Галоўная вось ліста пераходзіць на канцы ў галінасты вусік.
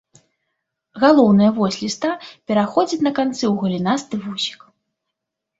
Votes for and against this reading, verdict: 2, 0, accepted